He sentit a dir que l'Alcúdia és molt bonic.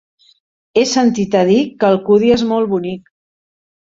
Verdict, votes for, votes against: rejected, 1, 2